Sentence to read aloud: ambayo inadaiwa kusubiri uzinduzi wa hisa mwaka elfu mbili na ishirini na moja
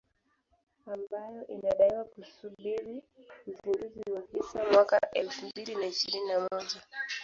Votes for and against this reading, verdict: 1, 2, rejected